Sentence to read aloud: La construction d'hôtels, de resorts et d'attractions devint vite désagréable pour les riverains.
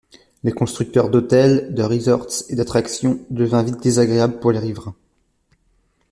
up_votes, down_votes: 0, 2